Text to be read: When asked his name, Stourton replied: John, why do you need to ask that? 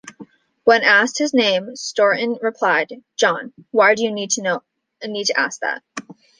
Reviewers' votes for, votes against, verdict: 0, 2, rejected